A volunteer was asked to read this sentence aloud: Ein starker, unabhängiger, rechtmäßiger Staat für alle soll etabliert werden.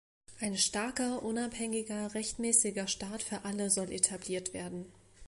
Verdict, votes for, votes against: accepted, 2, 0